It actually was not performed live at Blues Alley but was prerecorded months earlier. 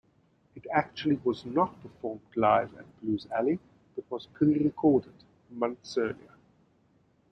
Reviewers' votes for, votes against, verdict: 0, 2, rejected